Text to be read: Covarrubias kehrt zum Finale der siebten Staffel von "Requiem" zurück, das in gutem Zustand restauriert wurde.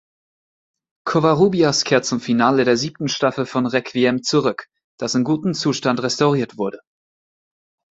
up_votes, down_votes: 2, 0